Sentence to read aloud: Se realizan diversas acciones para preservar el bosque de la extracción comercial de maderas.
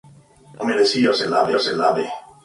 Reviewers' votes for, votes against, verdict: 0, 2, rejected